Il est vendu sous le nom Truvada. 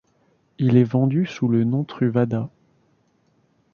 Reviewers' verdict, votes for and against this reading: accepted, 2, 0